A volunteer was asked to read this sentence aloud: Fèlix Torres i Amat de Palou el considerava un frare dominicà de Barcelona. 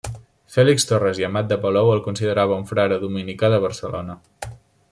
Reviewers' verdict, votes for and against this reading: accepted, 2, 0